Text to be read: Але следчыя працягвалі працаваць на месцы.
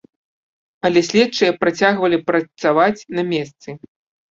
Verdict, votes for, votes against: rejected, 1, 2